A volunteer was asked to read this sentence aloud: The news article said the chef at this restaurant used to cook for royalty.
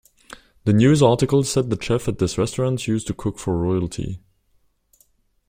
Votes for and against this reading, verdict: 2, 0, accepted